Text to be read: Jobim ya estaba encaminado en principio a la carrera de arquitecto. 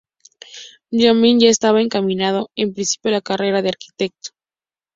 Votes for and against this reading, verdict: 2, 0, accepted